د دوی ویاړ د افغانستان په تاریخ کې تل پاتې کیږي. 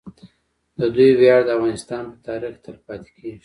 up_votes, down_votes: 1, 2